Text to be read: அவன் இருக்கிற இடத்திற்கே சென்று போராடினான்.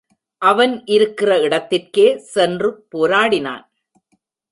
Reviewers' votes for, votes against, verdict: 0, 2, rejected